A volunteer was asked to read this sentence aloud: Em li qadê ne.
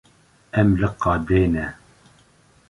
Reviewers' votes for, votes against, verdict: 2, 0, accepted